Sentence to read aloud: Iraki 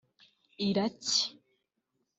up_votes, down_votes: 1, 2